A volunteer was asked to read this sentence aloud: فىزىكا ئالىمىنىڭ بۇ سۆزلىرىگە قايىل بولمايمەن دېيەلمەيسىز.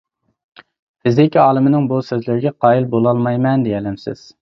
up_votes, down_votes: 0, 2